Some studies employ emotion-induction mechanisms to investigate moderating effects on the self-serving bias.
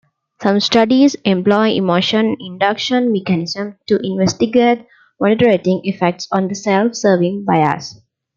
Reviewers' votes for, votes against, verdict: 0, 2, rejected